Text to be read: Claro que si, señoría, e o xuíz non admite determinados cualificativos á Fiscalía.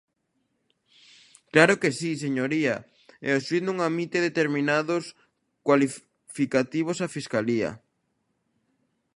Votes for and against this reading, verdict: 0, 2, rejected